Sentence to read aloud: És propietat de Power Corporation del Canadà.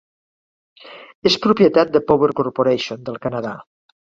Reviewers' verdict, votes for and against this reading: accepted, 4, 0